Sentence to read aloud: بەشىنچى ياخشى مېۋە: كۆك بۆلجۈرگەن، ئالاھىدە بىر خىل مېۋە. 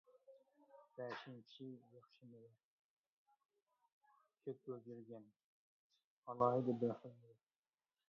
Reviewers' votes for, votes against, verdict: 0, 2, rejected